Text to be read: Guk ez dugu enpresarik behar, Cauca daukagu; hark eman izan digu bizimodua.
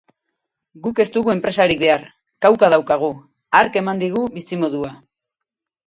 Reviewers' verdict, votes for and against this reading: rejected, 0, 4